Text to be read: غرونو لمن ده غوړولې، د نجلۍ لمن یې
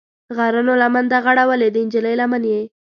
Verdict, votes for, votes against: rejected, 1, 2